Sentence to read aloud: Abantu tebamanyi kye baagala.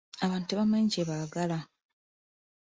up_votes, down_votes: 2, 0